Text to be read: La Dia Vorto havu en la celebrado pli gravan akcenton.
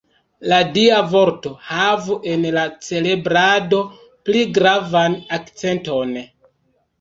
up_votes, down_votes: 0, 2